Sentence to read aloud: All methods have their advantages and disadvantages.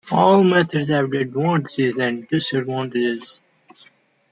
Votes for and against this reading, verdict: 2, 1, accepted